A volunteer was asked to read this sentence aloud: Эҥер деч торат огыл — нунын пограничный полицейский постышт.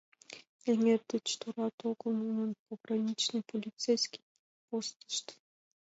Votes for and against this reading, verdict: 2, 1, accepted